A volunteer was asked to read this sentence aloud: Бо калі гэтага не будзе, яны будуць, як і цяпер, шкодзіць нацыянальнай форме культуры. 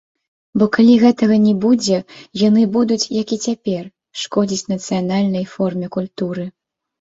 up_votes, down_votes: 3, 1